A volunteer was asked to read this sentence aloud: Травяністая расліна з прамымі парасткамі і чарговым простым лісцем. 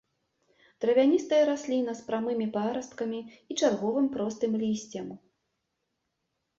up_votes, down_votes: 2, 0